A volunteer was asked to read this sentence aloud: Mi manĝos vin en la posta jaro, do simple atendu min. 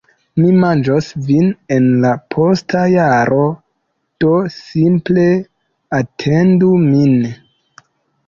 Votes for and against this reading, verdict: 3, 0, accepted